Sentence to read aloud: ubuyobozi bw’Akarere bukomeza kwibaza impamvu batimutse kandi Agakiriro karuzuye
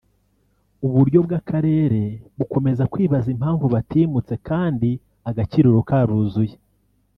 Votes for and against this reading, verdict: 0, 2, rejected